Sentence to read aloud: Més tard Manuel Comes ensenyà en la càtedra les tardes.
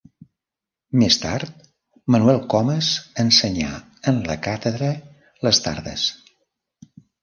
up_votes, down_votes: 2, 0